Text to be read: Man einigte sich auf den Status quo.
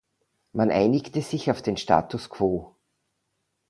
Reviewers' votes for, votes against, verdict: 2, 0, accepted